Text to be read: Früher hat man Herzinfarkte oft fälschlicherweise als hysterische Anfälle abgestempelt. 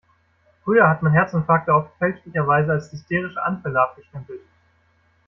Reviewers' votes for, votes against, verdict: 2, 0, accepted